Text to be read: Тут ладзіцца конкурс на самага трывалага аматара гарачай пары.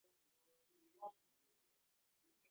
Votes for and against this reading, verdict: 0, 2, rejected